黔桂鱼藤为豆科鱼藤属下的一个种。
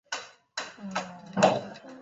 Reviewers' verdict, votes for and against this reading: rejected, 0, 2